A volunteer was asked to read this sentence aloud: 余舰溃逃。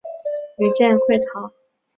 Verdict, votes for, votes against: accepted, 3, 0